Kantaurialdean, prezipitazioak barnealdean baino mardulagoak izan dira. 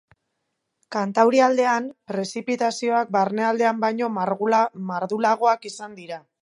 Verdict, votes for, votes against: rejected, 0, 2